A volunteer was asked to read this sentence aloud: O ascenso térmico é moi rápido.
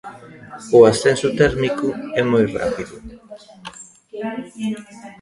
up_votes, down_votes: 0, 2